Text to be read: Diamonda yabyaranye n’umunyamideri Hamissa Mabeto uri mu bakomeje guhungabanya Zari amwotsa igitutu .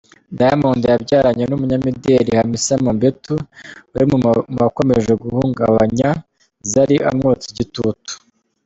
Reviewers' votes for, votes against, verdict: 1, 2, rejected